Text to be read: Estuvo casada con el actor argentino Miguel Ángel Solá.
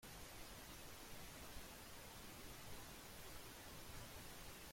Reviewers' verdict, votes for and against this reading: rejected, 0, 2